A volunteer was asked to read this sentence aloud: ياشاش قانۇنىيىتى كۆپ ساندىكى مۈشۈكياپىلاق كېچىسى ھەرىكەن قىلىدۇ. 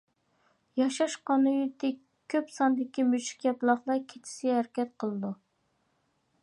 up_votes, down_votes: 0, 2